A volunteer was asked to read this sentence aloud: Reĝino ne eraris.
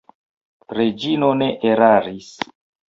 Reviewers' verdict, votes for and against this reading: rejected, 1, 2